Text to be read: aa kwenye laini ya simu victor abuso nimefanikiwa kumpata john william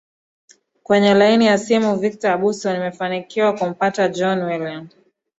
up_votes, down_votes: 8, 0